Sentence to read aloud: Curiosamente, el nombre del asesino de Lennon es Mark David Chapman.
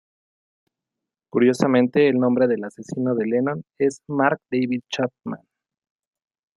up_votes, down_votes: 0, 2